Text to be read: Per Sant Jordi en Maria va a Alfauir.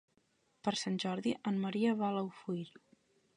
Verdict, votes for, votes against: rejected, 0, 2